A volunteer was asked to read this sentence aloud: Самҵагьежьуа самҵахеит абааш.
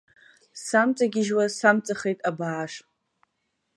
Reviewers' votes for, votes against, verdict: 2, 0, accepted